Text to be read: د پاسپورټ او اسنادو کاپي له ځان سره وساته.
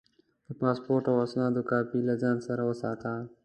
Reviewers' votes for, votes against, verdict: 2, 0, accepted